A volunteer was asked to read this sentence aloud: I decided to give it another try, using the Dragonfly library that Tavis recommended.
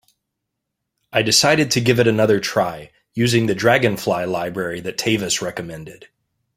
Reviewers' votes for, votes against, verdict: 2, 0, accepted